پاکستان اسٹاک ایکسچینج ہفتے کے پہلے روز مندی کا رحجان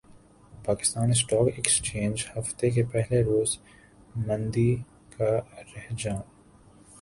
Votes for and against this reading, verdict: 0, 2, rejected